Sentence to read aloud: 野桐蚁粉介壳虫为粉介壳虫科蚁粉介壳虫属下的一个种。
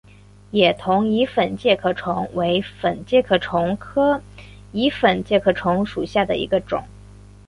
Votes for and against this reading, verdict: 2, 0, accepted